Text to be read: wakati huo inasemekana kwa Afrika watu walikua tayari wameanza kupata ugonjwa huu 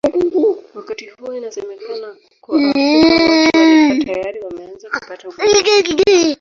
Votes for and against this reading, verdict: 0, 2, rejected